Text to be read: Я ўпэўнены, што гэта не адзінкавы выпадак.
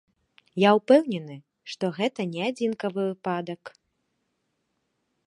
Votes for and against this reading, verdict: 2, 0, accepted